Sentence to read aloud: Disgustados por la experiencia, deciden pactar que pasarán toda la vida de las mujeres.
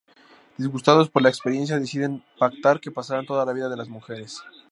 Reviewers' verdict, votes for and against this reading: accepted, 2, 0